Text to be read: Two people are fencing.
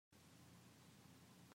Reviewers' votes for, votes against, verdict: 0, 3, rejected